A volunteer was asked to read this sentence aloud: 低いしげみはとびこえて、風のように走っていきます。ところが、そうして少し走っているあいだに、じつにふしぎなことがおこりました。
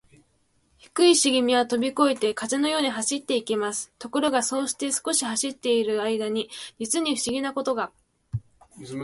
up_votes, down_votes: 2, 2